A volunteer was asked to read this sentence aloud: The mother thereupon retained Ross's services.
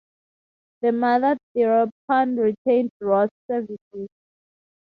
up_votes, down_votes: 2, 0